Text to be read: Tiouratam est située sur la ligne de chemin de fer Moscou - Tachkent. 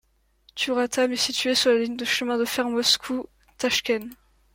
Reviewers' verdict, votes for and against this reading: accepted, 3, 0